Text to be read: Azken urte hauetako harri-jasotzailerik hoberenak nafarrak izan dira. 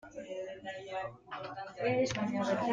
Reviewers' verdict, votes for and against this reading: rejected, 0, 2